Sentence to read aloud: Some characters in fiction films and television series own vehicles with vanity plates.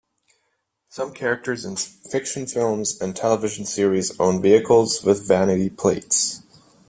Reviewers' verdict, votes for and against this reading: accepted, 2, 0